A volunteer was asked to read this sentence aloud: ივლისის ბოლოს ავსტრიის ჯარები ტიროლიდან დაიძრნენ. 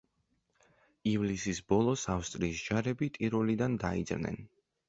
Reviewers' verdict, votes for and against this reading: accepted, 2, 0